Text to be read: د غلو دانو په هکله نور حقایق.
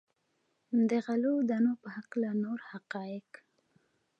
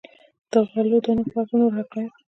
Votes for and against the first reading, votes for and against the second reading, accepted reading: 2, 0, 1, 2, first